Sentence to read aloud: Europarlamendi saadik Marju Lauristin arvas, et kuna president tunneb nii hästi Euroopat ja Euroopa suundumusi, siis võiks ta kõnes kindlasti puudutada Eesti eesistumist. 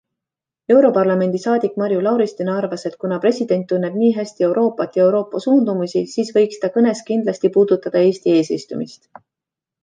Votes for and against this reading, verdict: 2, 1, accepted